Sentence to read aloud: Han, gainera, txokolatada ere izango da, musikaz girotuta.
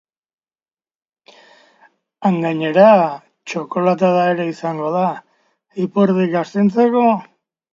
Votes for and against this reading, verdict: 0, 2, rejected